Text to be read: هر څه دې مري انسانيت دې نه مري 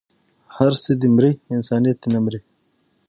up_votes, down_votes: 3, 6